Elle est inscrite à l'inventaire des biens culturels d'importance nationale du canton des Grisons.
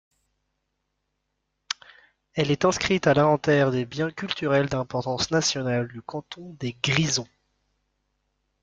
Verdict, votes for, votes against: rejected, 1, 2